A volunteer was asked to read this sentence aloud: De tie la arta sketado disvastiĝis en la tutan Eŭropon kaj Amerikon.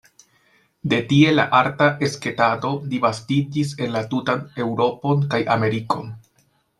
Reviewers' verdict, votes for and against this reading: rejected, 0, 2